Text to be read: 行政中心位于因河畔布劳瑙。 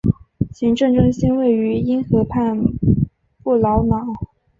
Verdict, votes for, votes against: accepted, 2, 0